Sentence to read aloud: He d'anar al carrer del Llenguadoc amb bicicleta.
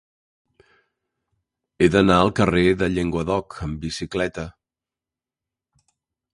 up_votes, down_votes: 2, 0